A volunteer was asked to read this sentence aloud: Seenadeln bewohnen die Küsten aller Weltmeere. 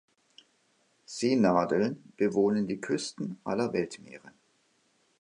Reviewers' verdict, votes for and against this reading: accepted, 2, 0